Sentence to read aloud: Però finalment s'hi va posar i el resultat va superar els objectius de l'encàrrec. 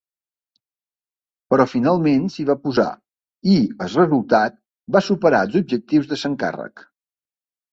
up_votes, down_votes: 1, 2